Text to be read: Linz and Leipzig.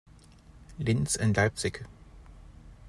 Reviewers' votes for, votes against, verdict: 2, 0, accepted